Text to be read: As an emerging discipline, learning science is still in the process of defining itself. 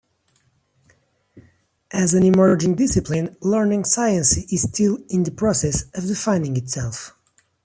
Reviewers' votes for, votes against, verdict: 2, 0, accepted